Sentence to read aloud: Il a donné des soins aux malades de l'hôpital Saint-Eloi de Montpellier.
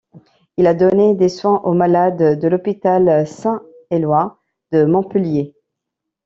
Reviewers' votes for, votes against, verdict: 2, 0, accepted